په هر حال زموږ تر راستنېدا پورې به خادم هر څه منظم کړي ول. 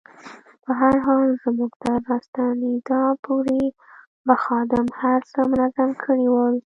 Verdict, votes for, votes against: rejected, 1, 2